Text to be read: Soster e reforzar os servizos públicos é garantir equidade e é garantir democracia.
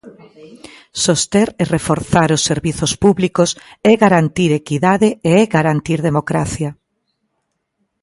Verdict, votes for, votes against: accepted, 2, 0